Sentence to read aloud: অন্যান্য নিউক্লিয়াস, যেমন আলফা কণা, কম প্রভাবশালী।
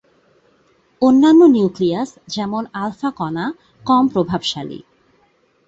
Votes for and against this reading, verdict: 2, 0, accepted